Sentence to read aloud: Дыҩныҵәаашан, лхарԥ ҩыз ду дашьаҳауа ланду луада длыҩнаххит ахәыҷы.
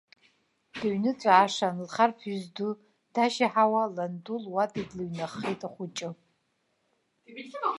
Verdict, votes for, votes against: rejected, 1, 2